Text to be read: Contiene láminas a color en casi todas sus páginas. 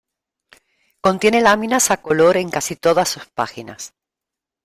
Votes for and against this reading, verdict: 2, 0, accepted